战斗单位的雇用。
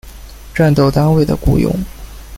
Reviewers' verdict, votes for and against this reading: accepted, 2, 0